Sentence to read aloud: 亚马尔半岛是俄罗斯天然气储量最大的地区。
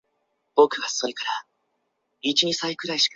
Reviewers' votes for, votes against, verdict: 0, 3, rejected